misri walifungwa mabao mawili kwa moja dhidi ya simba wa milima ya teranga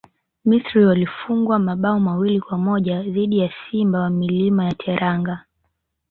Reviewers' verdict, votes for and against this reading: rejected, 1, 2